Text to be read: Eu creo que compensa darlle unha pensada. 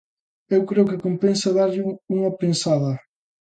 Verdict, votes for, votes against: rejected, 0, 2